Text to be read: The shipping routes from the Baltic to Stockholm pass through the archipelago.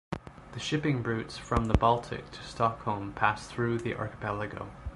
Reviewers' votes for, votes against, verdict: 2, 0, accepted